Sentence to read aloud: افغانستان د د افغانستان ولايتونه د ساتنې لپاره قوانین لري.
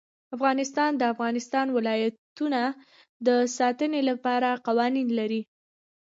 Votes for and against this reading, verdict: 2, 1, accepted